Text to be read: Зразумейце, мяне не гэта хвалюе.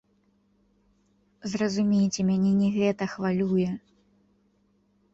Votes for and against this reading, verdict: 0, 2, rejected